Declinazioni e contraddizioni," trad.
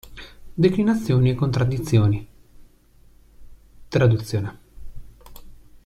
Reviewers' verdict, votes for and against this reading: rejected, 1, 2